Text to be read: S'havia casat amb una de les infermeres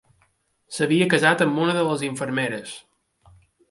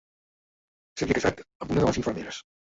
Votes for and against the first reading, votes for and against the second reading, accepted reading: 2, 0, 0, 2, first